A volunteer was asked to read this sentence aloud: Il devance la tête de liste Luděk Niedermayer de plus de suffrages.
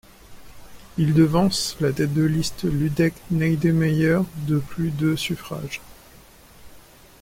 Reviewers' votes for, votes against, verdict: 1, 2, rejected